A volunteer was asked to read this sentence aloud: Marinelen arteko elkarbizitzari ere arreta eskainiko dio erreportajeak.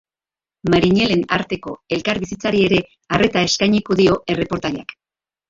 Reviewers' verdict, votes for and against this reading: accepted, 4, 2